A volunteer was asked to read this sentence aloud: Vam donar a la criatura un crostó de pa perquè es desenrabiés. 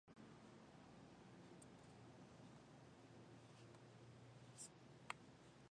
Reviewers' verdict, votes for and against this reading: rejected, 0, 2